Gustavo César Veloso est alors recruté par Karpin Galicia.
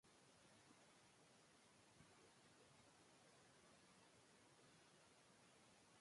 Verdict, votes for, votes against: rejected, 1, 2